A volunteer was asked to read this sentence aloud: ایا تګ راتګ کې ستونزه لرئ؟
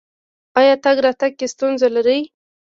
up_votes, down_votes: 1, 2